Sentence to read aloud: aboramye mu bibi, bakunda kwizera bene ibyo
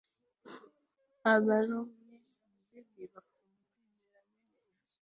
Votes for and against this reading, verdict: 0, 2, rejected